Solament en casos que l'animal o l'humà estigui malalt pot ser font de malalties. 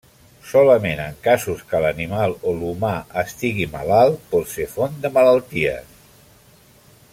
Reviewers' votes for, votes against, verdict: 0, 2, rejected